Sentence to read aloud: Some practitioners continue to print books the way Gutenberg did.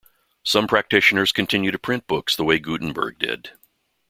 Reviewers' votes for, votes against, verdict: 2, 0, accepted